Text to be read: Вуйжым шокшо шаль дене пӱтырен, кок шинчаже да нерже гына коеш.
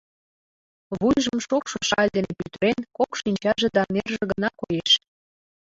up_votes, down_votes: 2, 1